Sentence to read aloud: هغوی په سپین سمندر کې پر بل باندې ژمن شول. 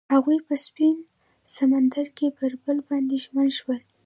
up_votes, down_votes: 1, 2